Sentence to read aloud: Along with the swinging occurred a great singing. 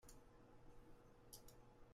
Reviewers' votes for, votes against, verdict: 0, 2, rejected